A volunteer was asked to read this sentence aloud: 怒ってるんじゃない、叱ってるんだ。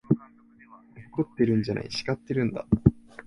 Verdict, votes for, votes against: accepted, 2, 1